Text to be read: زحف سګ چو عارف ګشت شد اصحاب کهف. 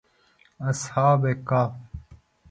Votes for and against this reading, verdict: 1, 2, rejected